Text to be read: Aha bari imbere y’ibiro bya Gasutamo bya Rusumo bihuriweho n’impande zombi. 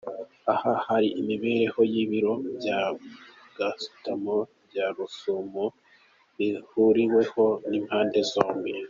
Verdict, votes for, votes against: accepted, 3, 0